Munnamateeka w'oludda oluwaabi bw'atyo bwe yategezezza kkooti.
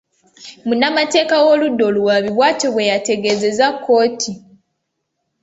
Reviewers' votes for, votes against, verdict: 2, 0, accepted